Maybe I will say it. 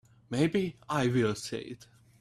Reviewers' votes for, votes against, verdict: 3, 0, accepted